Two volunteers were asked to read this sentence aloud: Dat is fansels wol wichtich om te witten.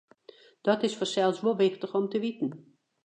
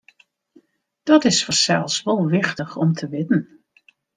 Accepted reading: second